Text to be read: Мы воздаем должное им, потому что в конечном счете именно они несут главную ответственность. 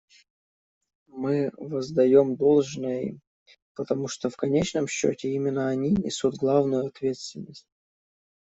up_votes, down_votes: 1, 2